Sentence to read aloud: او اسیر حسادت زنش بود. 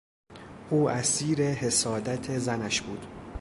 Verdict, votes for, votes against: accepted, 2, 0